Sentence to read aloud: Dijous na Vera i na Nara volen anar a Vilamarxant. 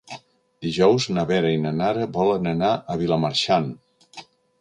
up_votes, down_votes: 3, 0